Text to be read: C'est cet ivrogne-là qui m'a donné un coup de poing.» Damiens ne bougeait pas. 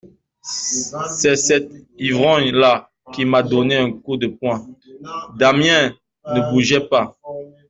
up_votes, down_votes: 1, 2